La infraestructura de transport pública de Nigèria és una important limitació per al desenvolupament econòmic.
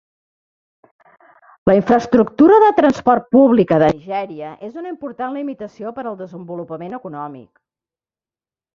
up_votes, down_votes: 1, 2